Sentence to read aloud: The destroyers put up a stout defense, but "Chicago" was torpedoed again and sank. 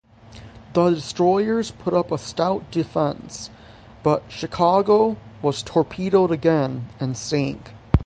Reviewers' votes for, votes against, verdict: 3, 3, rejected